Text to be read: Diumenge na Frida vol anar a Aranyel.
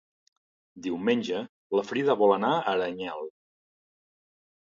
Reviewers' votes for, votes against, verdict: 2, 1, accepted